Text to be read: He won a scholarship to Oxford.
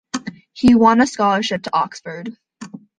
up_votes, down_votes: 2, 0